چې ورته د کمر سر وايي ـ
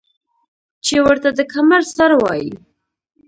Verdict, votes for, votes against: rejected, 1, 2